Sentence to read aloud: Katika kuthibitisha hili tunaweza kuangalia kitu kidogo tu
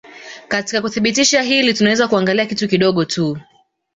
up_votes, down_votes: 2, 0